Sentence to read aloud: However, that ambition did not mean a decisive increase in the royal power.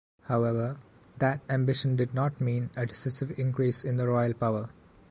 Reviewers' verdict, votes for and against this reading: rejected, 1, 2